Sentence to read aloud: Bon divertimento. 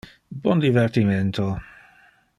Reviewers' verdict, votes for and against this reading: accepted, 2, 0